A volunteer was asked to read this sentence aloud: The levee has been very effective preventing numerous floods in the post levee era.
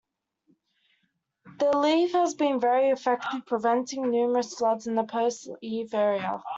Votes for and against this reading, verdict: 0, 2, rejected